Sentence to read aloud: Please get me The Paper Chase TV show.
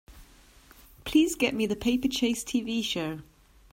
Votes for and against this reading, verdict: 2, 0, accepted